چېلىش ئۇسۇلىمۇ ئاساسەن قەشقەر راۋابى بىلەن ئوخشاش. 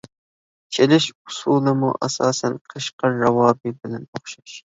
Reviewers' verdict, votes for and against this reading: accepted, 2, 0